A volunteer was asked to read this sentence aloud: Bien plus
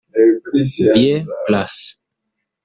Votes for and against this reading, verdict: 1, 2, rejected